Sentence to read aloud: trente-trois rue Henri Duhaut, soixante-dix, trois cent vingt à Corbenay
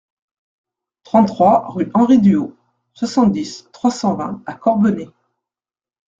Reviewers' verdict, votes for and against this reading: accepted, 2, 0